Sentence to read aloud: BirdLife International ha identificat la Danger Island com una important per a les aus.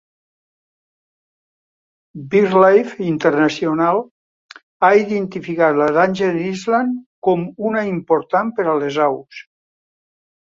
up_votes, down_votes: 2, 0